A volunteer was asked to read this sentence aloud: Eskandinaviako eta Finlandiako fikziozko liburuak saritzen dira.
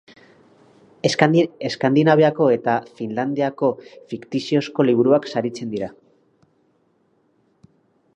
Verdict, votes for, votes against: rejected, 0, 4